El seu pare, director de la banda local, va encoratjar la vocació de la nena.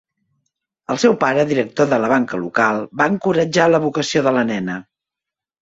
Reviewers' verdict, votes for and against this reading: rejected, 0, 2